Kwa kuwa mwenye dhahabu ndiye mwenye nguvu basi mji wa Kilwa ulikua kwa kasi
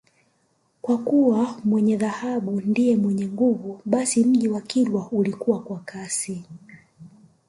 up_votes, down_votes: 1, 2